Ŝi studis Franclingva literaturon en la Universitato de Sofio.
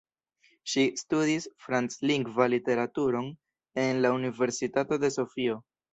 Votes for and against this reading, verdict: 1, 2, rejected